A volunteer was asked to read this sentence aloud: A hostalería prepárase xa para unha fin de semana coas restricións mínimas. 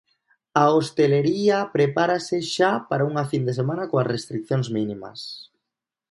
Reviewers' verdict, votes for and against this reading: rejected, 0, 2